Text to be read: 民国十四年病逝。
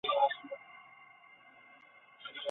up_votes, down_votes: 0, 3